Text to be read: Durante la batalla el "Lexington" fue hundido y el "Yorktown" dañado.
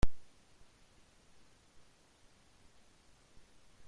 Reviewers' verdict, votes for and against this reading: rejected, 0, 2